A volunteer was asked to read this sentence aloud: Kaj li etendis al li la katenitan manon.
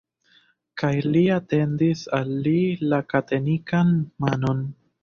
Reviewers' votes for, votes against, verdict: 2, 0, accepted